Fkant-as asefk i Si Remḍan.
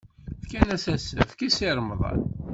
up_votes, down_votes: 1, 2